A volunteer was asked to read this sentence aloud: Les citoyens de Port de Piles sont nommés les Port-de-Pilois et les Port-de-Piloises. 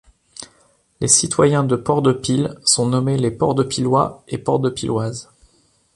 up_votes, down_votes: 0, 2